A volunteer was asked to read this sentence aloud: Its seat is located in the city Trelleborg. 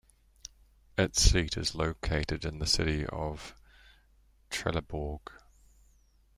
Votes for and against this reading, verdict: 1, 2, rejected